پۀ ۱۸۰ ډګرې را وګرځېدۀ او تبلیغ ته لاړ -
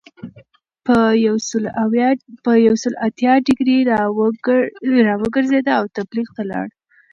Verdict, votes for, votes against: rejected, 0, 2